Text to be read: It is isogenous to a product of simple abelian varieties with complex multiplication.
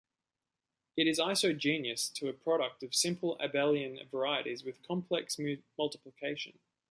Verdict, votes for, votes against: rejected, 1, 2